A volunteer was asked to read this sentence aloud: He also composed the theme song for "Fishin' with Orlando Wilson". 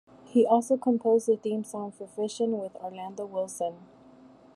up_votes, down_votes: 2, 0